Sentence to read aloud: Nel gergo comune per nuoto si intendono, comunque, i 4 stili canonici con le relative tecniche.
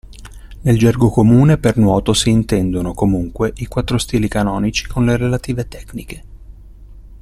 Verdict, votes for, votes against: rejected, 0, 2